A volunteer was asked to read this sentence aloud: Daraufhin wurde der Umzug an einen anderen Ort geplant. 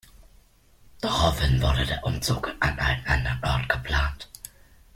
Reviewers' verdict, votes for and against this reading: rejected, 1, 2